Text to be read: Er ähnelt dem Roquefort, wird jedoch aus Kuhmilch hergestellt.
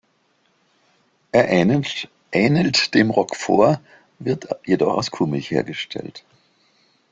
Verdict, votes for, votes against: rejected, 0, 2